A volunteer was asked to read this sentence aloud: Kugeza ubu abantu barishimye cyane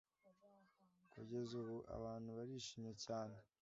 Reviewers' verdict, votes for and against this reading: accepted, 2, 0